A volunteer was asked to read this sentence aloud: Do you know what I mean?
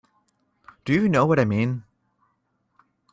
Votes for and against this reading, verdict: 2, 0, accepted